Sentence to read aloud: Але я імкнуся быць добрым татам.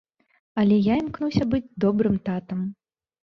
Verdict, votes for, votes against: accepted, 2, 0